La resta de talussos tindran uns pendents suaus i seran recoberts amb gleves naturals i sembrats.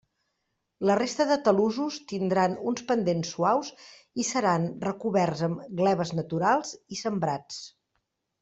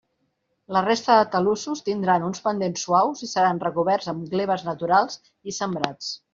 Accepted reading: second